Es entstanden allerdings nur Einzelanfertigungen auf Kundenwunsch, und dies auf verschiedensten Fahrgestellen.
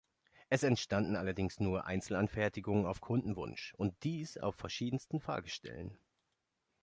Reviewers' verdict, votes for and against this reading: accepted, 2, 0